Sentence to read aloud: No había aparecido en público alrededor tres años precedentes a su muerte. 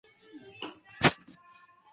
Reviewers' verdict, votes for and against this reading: rejected, 0, 2